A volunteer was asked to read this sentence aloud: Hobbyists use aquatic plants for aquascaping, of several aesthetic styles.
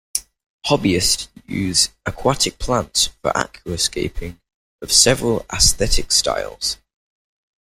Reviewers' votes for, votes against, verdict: 2, 0, accepted